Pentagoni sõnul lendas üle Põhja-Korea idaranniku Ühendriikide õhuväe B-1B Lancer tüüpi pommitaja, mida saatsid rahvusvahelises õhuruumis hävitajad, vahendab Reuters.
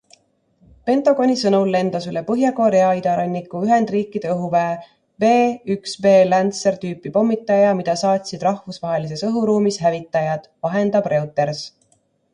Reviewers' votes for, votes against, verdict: 0, 2, rejected